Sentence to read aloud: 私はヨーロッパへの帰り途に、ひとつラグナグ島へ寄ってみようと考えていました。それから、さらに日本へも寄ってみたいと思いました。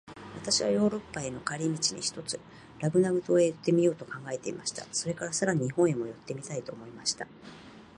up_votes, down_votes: 0, 2